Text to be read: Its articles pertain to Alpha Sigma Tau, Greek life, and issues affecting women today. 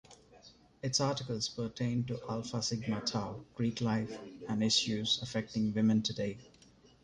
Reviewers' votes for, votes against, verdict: 2, 0, accepted